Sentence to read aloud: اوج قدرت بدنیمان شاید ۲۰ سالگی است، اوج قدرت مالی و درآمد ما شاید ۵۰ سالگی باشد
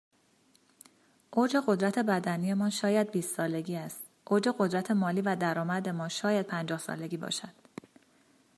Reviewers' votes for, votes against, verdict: 0, 2, rejected